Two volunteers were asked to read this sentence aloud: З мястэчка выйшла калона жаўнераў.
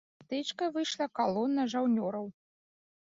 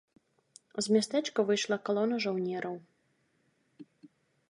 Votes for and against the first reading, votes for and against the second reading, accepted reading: 1, 2, 2, 0, second